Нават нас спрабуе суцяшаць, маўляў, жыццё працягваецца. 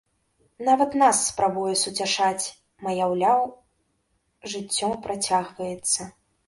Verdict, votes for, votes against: rejected, 1, 2